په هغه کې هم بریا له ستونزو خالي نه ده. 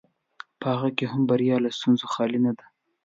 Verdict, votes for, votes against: accepted, 2, 0